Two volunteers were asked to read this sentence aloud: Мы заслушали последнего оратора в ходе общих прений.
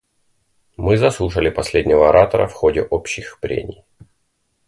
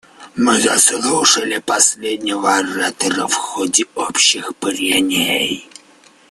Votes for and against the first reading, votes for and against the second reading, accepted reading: 2, 0, 0, 2, first